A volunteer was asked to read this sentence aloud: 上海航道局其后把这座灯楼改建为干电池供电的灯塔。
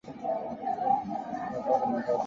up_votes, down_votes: 1, 2